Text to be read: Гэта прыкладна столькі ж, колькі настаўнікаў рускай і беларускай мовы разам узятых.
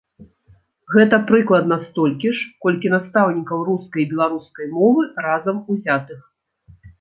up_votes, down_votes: 2, 0